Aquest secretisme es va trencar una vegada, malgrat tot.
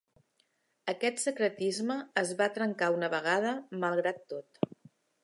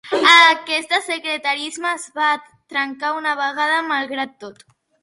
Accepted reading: first